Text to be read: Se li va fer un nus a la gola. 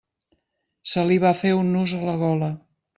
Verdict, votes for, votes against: accepted, 3, 0